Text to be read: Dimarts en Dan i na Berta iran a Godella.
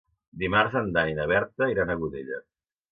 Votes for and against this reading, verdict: 2, 0, accepted